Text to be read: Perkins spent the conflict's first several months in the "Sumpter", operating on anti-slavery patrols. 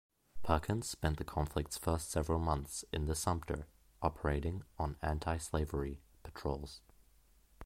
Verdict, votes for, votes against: rejected, 1, 2